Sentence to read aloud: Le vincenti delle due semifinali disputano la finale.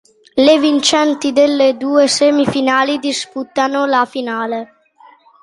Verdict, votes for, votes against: accepted, 2, 0